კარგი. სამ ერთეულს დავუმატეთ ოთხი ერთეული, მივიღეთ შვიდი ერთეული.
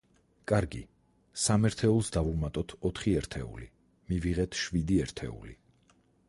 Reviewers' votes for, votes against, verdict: 4, 0, accepted